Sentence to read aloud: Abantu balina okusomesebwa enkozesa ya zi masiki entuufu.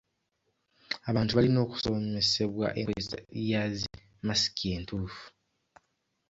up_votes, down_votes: 2, 0